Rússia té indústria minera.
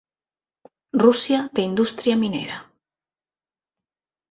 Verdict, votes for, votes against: accepted, 7, 0